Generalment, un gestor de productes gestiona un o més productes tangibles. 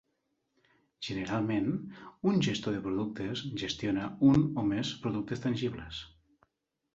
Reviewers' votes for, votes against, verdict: 3, 1, accepted